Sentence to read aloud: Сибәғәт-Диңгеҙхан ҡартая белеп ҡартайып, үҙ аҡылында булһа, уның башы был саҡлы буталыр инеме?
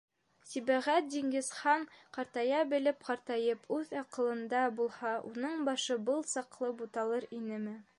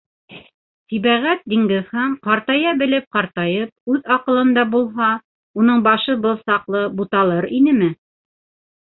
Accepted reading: second